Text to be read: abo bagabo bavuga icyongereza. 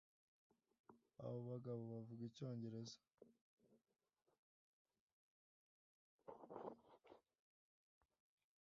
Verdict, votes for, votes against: accepted, 2, 0